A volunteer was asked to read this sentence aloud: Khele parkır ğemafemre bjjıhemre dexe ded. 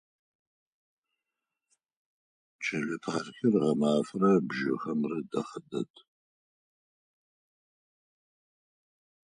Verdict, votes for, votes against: rejected, 0, 4